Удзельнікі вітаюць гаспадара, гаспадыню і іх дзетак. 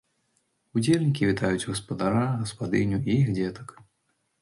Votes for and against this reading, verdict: 3, 0, accepted